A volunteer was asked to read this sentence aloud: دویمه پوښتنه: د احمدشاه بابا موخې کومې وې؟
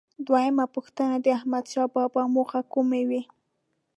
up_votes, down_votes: 1, 2